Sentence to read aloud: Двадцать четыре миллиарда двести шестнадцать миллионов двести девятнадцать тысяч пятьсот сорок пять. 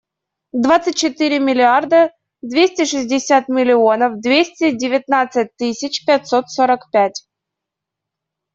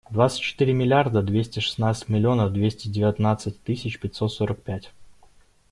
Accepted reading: second